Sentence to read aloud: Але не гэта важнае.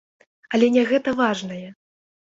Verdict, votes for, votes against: accepted, 2, 0